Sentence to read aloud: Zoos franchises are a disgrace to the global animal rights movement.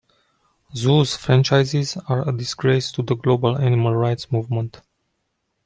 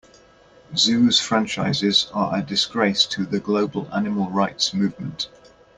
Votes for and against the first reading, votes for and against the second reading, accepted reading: 2, 0, 0, 2, first